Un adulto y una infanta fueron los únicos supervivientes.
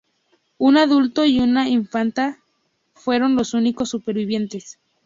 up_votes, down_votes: 2, 0